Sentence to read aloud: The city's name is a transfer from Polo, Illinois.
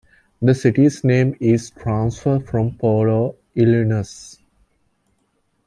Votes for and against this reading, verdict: 1, 3, rejected